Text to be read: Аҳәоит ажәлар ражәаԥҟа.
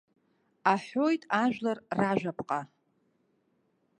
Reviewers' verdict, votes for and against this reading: accepted, 2, 0